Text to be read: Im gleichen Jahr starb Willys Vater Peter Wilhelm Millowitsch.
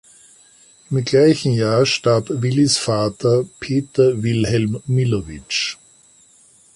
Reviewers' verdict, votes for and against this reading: accepted, 2, 1